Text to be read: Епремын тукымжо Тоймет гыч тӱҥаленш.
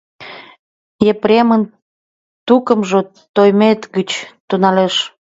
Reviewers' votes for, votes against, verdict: 1, 2, rejected